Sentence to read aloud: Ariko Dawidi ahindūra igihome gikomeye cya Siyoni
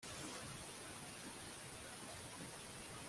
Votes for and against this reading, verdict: 1, 3, rejected